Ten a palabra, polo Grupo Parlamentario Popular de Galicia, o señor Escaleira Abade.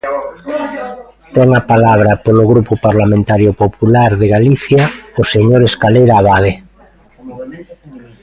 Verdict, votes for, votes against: rejected, 1, 2